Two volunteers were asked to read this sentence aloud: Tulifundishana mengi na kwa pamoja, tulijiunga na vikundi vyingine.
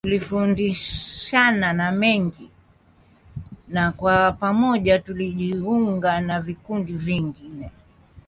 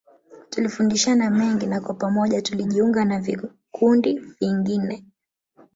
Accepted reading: first